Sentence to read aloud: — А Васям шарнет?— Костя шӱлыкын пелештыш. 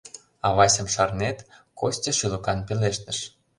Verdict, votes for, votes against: rejected, 0, 2